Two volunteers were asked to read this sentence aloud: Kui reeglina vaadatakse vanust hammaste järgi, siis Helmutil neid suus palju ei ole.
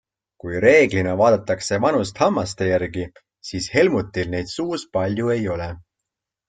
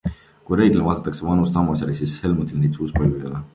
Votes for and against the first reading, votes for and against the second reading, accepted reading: 2, 0, 1, 2, first